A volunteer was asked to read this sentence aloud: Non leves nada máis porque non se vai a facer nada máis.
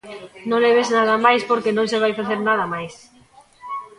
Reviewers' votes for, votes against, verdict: 1, 2, rejected